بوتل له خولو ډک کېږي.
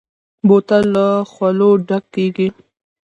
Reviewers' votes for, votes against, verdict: 0, 2, rejected